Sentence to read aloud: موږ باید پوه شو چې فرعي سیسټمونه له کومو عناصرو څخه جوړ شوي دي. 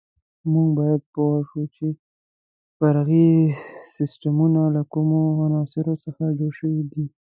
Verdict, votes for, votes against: accepted, 2, 1